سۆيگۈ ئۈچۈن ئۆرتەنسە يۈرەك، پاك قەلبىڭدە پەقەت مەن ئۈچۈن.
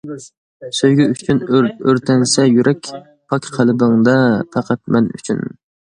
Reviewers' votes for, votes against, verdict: 2, 0, accepted